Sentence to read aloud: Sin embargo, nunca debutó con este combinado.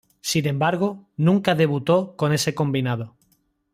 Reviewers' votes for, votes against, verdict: 2, 1, accepted